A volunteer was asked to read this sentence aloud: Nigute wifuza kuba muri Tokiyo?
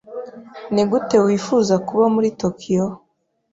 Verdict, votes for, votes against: accepted, 2, 0